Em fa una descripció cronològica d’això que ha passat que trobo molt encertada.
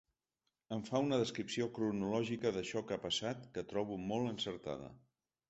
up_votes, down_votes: 3, 0